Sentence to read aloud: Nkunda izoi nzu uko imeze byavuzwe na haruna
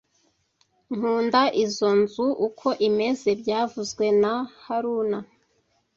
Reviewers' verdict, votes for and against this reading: accepted, 2, 0